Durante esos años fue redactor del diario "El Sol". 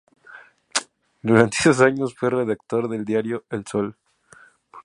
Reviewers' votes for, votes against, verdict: 4, 0, accepted